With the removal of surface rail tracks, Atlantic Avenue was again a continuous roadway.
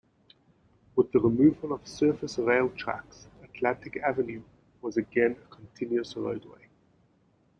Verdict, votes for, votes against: accepted, 2, 0